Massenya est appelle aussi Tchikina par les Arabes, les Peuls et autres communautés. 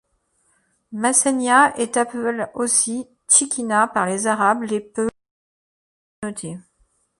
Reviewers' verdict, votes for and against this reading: rejected, 0, 2